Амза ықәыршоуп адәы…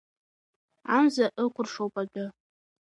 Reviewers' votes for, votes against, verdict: 2, 1, accepted